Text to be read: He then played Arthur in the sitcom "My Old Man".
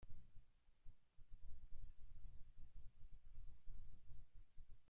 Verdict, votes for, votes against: rejected, 0, 3